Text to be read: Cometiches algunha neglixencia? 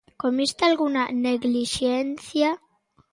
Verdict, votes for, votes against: rejected, 1, 2